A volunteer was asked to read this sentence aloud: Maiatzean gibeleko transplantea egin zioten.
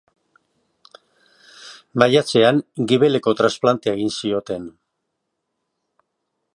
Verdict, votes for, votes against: accepted, 2, 0